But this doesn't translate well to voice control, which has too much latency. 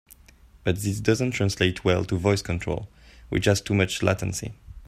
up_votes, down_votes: 3, 0